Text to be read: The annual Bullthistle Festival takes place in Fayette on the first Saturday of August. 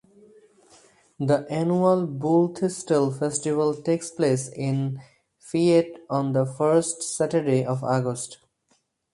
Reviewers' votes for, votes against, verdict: 4, 0, accepted